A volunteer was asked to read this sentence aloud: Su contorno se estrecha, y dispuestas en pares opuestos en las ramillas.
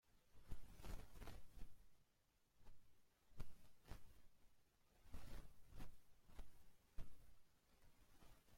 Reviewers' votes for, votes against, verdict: 0, 2, rejected